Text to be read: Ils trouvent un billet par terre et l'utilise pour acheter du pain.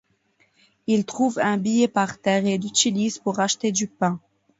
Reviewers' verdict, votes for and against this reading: accepted, 2, 0